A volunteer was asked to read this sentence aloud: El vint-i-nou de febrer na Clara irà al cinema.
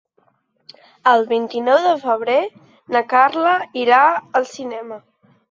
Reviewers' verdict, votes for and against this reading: rejected, 1, 2